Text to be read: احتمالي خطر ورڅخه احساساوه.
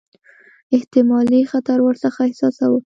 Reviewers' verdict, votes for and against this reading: accepted, 4, 0